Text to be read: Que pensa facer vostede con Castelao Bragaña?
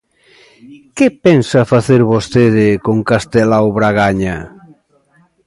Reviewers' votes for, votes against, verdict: 2, 0, accepted